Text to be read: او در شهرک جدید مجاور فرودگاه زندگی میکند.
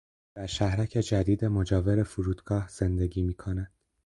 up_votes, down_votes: 4, 2